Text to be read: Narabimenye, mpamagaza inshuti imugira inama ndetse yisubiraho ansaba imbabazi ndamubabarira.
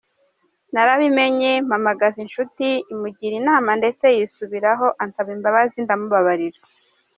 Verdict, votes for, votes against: accepted, 2, 0